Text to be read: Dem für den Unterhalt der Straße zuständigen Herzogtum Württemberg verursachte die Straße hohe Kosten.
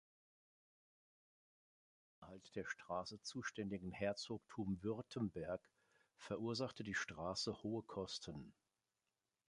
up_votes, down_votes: 1, 2